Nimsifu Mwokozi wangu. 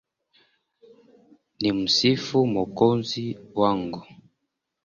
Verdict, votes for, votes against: rejected, 1, 2